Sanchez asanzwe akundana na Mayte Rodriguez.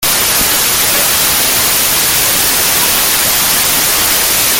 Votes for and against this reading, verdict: 0, 4, rejected